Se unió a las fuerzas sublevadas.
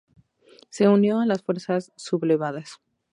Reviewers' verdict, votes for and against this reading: accepted, 2, 0